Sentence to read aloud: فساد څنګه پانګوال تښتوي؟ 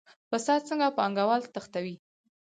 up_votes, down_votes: 2, 4